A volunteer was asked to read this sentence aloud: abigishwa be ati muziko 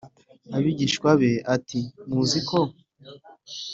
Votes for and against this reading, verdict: 2, 0, accepted